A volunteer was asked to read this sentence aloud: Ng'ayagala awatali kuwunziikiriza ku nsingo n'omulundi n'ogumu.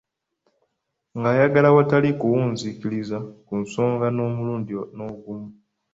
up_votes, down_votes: 2, 1